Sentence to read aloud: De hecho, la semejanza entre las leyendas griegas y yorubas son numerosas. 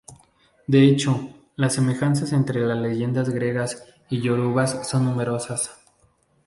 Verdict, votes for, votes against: rejected, 0, 2